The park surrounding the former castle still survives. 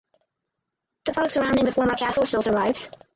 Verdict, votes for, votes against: rejected, 0, 4